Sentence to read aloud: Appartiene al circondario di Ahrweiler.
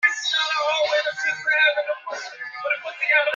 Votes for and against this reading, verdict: 0, 2, rejected